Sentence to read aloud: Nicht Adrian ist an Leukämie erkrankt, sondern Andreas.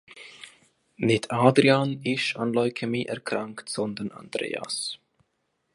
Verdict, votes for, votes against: rejected, 1, 2